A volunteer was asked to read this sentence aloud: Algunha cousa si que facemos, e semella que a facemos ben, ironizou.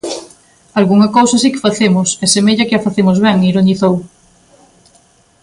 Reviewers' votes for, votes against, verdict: 2, 0, accepted